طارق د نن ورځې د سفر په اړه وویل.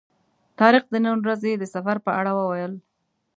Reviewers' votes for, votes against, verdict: 1, 2, rejected